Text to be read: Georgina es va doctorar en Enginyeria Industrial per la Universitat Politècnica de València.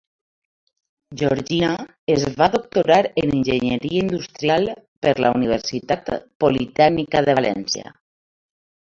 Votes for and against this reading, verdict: 2, 0, accepted